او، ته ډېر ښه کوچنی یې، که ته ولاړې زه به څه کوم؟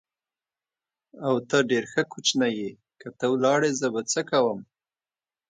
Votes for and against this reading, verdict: 2, 0, accepted